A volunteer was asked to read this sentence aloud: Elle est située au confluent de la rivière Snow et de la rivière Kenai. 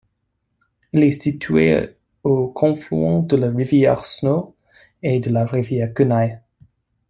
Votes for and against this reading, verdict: 2, 0, accepted